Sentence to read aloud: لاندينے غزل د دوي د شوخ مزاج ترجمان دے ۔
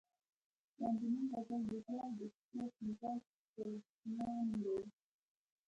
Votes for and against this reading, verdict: 1, 2, rejected